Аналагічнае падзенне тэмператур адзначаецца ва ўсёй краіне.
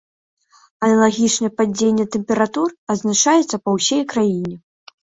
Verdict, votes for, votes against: rejected, 0, 2